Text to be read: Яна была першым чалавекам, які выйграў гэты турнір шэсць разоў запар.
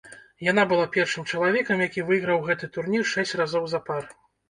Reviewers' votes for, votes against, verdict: 1, 2, rejected